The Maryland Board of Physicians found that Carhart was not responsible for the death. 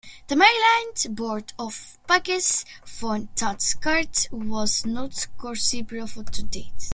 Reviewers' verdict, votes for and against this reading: accepted, 2, 1